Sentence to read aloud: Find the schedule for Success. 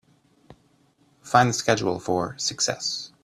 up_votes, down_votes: 3, 0